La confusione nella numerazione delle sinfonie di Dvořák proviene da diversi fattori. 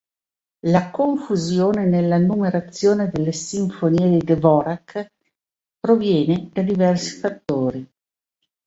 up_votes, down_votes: 2, 0